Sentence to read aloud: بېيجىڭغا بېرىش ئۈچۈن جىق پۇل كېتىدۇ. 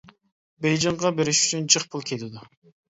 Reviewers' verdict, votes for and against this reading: accepted, 2, 0